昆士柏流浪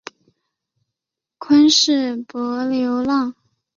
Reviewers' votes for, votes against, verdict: 2, 0, accepted